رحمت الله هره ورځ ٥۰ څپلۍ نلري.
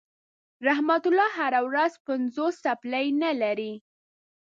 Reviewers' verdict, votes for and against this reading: rejected, 0, 2